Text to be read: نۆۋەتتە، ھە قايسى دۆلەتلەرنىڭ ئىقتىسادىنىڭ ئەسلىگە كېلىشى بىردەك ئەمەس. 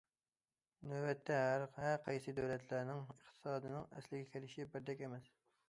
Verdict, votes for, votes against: rejected, 0, 2